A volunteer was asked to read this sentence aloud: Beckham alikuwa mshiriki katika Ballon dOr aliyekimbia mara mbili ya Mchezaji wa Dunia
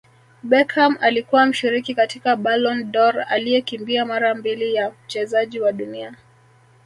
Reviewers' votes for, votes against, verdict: 2, 1, accepted